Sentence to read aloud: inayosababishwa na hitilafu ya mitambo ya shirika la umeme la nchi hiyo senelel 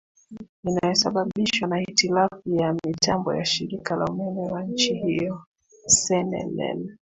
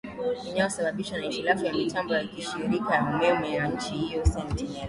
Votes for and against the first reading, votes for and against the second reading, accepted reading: 1, 2, 2, 1, second